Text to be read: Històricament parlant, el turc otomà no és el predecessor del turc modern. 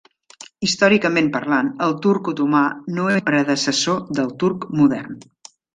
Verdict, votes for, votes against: rejected, 0, 2